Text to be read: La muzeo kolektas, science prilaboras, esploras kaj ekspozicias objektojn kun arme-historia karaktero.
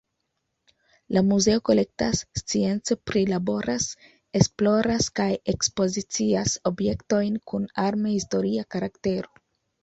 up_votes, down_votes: 2, 1